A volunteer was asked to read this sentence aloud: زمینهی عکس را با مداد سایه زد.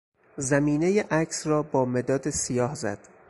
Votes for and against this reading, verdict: 2, 4, rejected